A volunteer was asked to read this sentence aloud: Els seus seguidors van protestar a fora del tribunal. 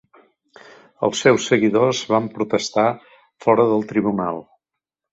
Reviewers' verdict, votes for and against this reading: rejected, 0, 2